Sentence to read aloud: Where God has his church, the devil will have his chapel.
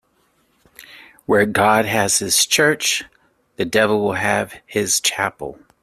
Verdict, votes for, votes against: accepted, 2, 1